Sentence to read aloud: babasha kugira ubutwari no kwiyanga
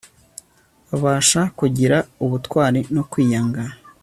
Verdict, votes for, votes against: accepted, 2, 0